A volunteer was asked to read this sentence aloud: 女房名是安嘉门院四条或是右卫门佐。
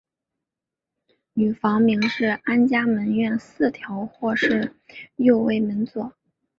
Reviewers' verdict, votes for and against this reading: accepted, 4, 0